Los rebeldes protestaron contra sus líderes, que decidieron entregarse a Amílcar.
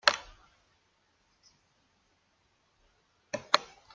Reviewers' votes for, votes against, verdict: 0, 2, rejected